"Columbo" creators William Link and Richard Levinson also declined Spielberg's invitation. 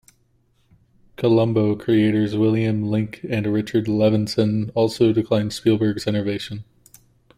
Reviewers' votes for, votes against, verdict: 0, 2, rejected